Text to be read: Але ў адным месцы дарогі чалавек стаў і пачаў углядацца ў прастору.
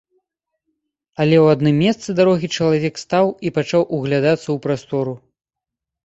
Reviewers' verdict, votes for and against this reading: accepted, 2, 0